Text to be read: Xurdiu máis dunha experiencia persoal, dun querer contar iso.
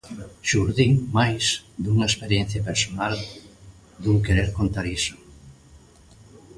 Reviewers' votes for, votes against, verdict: 0, 2, rejected